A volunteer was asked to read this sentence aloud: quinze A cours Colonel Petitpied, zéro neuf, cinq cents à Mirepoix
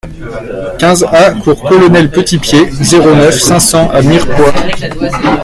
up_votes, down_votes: 0, 2